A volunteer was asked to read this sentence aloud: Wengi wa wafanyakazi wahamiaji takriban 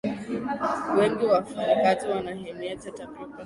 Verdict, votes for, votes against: rejected, 0, 2